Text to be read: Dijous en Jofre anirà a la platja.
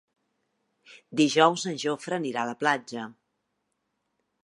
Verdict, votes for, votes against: accepted, 4, 0